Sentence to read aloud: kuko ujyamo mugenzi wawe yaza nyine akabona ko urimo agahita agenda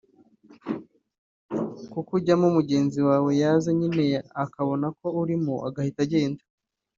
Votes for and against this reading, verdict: 2, 0, accepted